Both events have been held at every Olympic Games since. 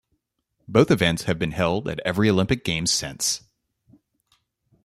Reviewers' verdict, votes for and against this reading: accepted, 2, 0